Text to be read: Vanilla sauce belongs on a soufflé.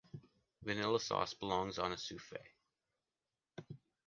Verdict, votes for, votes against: rejected, 1, 2